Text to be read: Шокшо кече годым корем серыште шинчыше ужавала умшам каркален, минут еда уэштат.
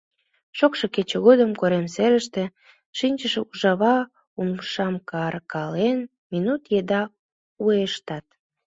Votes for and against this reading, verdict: 1, 2, rejected